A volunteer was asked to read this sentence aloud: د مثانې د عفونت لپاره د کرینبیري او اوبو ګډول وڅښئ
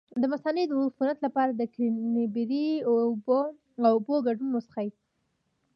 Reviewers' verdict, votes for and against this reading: accepted, 2, 1